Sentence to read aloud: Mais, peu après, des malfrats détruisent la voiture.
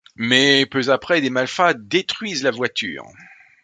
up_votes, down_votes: 0, 2